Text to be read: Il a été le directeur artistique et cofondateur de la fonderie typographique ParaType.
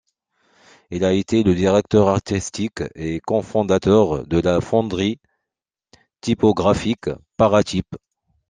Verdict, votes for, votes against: accepted, 2, 0